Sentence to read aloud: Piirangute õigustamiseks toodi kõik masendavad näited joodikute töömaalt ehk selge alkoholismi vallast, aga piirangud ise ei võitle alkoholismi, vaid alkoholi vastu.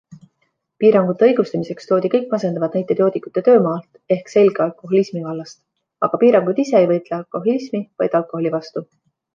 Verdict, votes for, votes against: accepted, 2, 1